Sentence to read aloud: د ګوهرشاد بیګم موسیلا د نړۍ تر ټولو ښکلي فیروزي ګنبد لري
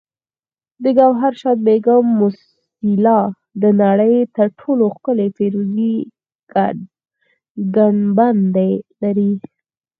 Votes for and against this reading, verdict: 2, 4, rejected